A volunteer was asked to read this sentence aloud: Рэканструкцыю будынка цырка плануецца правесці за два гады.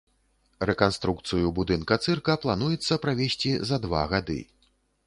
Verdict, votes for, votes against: accepted, 2, 0